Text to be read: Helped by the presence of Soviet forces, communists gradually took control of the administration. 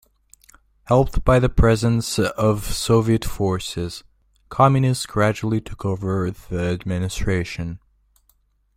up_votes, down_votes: 1, 2